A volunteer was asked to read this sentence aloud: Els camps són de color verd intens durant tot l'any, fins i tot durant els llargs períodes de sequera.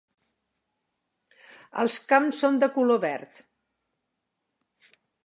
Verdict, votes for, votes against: rejected, 0, 2